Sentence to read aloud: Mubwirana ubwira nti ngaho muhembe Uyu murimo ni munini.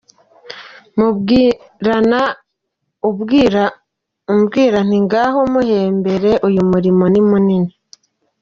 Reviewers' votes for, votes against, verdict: 0, 2, rejected